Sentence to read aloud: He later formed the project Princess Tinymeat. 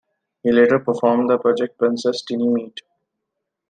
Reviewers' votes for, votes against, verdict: 2, 1, accepted